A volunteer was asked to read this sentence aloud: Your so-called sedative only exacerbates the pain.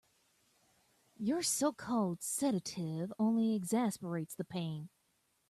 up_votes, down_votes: 2, 1